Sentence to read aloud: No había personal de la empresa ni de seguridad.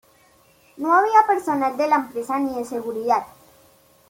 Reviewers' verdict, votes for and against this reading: accepted, 3, 1